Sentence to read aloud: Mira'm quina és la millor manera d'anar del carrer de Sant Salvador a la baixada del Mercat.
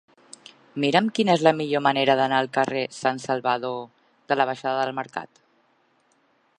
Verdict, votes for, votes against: rejected, 0, 3